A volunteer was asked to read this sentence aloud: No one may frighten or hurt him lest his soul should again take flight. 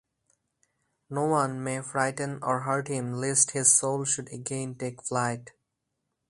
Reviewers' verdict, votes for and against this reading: accepted, 2, 0